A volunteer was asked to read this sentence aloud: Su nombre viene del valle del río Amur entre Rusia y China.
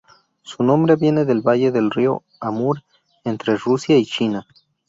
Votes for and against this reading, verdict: 2, 0, accepted